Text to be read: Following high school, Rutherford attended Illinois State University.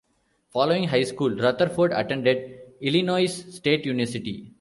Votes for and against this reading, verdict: 0, 2, rejected